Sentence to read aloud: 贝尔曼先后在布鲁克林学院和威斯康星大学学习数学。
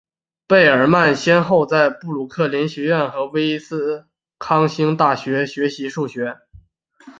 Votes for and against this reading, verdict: 6, 0, accepted